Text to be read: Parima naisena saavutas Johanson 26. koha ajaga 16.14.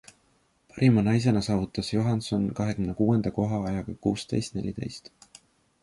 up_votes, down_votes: 0, 2